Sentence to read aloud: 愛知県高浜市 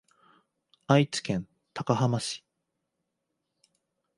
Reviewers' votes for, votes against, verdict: 4, 0, accepted